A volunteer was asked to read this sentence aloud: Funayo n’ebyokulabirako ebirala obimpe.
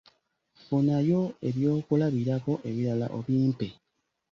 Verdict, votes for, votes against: rejected, 1, 2